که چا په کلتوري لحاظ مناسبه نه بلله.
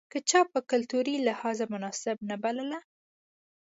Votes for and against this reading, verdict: 2, 0, accepted